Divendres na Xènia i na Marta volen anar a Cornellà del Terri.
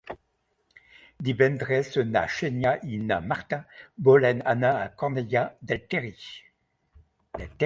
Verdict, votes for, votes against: rejected, 1, 2